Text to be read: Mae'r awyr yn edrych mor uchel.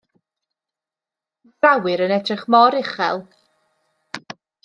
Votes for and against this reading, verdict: 0, 2, rejected